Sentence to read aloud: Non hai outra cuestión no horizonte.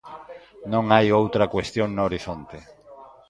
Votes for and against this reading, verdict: 0, 2, rejected